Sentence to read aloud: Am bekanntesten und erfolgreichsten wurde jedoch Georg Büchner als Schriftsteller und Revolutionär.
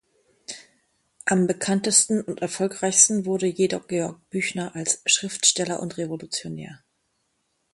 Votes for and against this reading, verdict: 2, 0, accepted